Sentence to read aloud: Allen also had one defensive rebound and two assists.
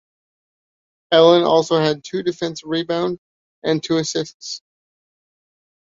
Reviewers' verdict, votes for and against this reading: rejected, 0, 2